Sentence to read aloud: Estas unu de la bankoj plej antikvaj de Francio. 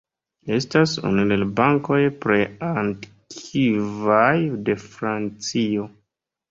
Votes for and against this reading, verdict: 1, 2, rejected